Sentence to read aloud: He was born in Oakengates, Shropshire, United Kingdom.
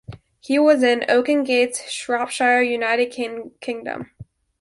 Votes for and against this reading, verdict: 0, 2, rejected